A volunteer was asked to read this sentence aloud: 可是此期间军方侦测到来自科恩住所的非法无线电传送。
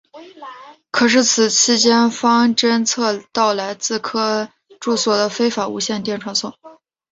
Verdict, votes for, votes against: accepted, 2, 0